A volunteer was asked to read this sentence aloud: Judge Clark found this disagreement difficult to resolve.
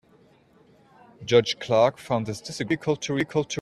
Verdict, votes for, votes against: rejected, 0, 2